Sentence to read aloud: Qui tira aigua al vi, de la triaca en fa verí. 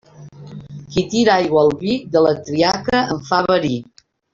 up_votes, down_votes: 1, 2